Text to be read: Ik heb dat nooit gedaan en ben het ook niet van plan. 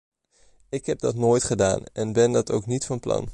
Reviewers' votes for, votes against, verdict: 2, 1, accepted